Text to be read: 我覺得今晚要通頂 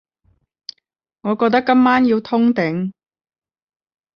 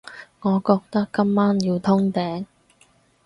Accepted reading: second